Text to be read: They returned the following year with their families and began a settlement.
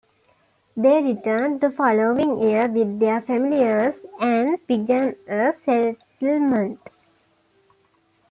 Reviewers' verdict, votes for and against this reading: accepted, 2, 1